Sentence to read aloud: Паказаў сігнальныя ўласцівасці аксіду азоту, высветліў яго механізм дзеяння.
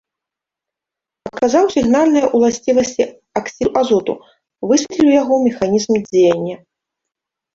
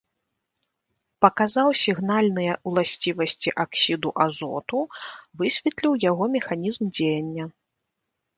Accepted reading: second